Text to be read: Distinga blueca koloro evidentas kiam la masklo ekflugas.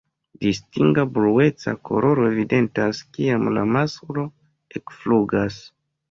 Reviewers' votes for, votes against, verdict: 1, 2, rejected